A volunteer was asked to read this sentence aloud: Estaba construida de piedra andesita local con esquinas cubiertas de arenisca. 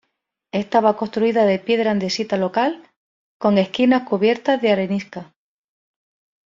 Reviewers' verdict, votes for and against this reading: accepted, 2, 0